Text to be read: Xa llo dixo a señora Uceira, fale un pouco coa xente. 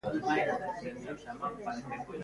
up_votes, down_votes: 0, 2